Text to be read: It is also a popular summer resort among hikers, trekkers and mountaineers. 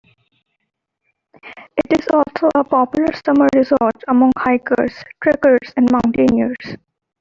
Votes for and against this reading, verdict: 1, 2, rejected